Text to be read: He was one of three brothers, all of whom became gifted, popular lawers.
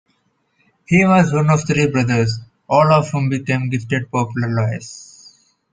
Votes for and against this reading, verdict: 0, 2, rejected